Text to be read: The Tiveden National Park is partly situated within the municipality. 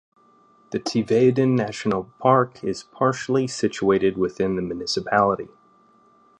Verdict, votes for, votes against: rejected, 1, 2